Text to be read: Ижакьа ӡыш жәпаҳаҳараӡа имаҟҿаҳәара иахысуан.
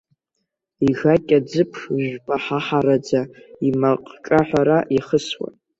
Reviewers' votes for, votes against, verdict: 0, 2, rejected